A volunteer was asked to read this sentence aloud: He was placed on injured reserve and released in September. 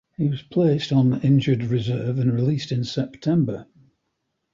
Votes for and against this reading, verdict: 2, 1, accepted